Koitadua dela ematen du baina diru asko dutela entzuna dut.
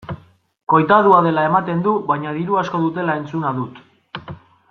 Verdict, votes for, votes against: accepted, 2, 0